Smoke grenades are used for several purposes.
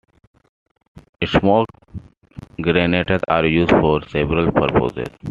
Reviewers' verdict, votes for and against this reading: rejected, 1, 2